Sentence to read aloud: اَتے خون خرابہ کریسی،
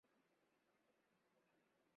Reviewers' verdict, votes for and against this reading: rejected, 0, 2